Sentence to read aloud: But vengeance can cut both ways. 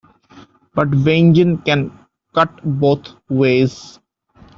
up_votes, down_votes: 0, 2